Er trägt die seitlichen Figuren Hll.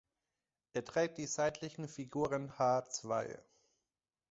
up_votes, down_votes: 1, 2